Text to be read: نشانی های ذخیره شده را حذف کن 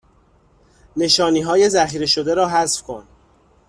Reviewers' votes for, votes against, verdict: 2, 0, accepted